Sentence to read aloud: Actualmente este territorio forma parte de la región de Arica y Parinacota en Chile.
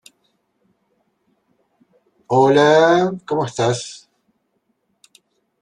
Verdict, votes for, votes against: rejected, 1, 2